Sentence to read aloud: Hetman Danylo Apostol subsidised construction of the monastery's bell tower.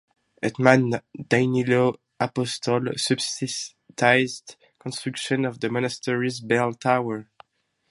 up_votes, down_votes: 2, 2